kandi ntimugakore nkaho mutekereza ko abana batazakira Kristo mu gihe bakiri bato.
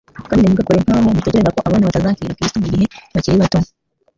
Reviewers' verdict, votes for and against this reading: rejected, 1, 2